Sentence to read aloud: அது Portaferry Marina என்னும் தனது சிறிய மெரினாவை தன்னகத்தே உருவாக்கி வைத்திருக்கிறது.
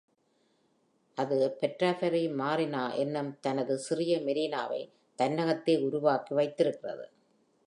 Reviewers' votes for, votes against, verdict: 2, 0, accepted